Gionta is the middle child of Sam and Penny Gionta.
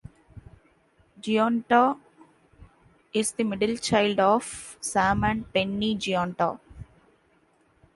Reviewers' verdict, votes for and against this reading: accepted, 2, 0